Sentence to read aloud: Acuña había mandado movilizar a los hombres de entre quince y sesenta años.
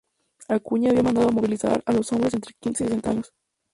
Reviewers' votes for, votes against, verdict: 2, 2, rejected